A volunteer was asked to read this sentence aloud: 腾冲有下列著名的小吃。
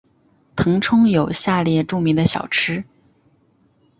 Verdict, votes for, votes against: accepted, 3, 0